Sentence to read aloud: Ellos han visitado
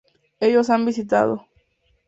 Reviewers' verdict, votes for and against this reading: accepted, 2, 0